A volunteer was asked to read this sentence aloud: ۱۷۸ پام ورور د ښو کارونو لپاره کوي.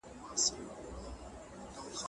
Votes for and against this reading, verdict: 0, 2, rejected